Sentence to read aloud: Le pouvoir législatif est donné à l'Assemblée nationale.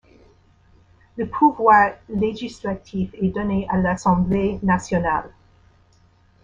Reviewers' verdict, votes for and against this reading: accepted, 2, 1